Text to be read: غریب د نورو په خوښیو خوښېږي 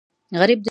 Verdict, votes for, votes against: rejected, 0, 2